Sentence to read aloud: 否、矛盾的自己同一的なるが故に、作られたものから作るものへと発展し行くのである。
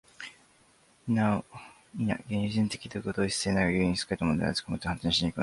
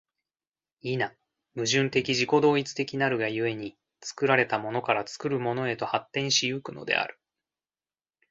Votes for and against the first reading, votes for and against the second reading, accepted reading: 0, 2, 2, 0, second